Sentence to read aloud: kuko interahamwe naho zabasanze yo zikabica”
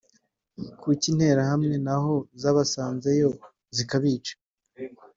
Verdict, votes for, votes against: rejected, 1, 2